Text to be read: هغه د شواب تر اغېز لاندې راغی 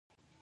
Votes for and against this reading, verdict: 0, 2, rejected